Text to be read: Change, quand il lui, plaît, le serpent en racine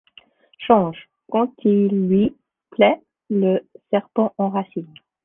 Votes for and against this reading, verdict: 2, 1, accepted